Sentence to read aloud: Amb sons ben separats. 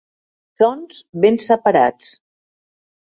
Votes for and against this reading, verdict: 1, 2, rejected